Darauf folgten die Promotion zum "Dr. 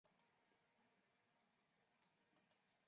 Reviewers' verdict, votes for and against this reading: rejected, 0, 2